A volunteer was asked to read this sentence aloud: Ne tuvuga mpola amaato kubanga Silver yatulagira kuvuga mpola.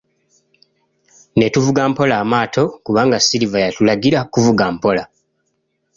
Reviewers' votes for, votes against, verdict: 2, 0, accepted